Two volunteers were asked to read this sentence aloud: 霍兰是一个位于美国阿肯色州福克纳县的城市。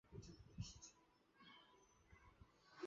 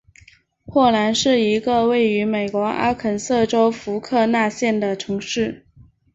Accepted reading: second